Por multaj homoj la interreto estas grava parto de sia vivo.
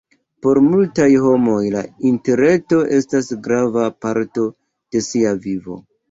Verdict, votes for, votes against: accepted, 2, 0